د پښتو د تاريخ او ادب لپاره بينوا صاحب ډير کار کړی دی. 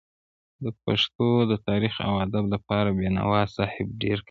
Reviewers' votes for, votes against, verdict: 0, 2, rejected